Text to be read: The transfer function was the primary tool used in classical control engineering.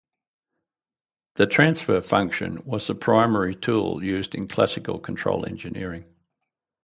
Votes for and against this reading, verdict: 2, 2, rejected